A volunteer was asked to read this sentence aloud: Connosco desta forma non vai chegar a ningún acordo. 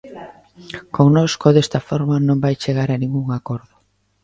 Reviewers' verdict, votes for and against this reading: accepted, 3, 0